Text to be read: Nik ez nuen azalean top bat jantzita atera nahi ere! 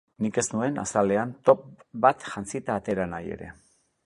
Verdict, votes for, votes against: accepted, 6, 0